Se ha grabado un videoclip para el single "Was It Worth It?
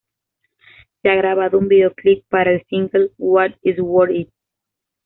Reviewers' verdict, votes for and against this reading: rejected, 0, 2